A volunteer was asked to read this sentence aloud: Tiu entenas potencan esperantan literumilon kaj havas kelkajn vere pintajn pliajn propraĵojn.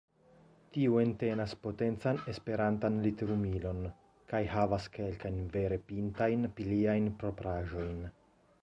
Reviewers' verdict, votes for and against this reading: accepted, 2, 0